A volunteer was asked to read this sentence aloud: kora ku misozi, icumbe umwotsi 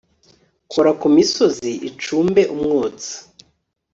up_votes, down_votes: 2, 0